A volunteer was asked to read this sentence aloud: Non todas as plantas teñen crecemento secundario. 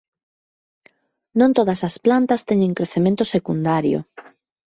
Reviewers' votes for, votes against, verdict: 2, 0, accepted